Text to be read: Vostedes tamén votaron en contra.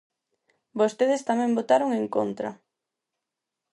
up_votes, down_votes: 4, 0